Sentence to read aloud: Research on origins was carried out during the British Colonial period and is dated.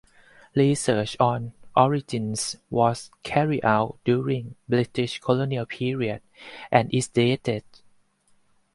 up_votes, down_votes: 4, 0